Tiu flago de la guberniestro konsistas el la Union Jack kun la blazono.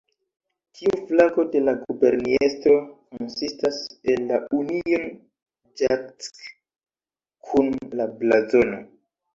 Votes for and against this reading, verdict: 2, 1, accepted